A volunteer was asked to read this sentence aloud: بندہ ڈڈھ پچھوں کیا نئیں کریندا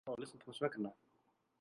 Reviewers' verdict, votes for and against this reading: rejected, 0, 2